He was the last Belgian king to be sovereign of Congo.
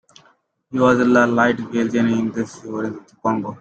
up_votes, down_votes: 0, 2